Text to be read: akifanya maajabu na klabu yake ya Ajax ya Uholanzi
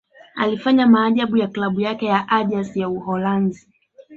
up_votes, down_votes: 0, 2